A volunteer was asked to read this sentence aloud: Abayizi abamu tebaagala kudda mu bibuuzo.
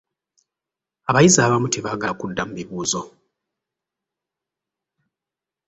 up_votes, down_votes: 1, 2